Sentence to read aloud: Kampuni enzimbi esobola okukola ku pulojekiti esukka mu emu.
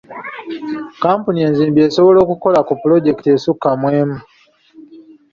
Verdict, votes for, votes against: accepted, 3, 0